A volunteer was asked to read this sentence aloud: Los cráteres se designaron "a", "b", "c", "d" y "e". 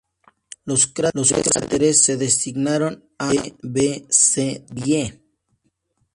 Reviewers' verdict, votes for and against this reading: rejected, 0, 2